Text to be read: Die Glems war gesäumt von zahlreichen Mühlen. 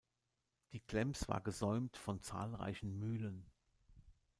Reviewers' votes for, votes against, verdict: 2, 0, accepted